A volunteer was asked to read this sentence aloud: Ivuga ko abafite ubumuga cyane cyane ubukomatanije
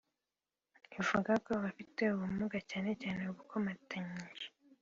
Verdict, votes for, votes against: accepted, 2, 0